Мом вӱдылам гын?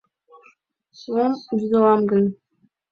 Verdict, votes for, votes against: accepted, 2, 1